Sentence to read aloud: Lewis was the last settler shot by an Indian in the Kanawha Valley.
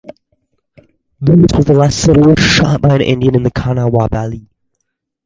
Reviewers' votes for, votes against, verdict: 0, 4, rejected